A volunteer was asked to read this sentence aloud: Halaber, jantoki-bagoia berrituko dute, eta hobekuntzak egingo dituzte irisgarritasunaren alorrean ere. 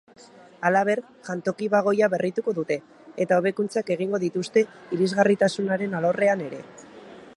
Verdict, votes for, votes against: accepted, 3, 0